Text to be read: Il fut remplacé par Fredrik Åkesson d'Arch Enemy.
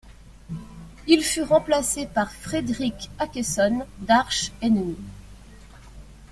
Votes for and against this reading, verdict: 2, 0, accepted